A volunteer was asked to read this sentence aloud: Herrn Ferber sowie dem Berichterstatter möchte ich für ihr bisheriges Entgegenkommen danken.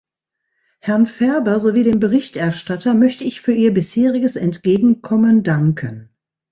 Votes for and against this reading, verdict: 2, 1, accepted